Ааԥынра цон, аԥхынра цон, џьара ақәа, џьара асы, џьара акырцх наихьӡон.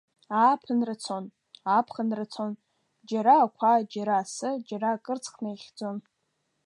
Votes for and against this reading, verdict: 2, 0, accepted